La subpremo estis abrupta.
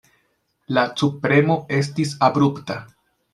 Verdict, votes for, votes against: rejected, 0, 2